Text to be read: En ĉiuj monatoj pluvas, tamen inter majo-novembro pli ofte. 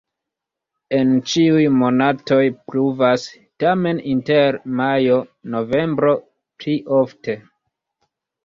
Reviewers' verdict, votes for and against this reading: rejected, 0, 2